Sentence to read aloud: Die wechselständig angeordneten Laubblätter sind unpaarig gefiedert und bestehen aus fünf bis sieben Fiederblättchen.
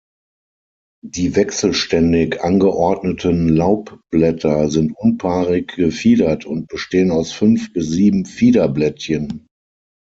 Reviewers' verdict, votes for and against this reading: accepted, 9, 0